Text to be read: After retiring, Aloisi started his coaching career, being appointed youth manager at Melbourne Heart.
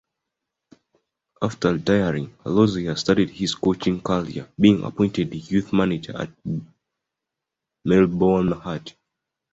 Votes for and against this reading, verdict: 1, 2, rejected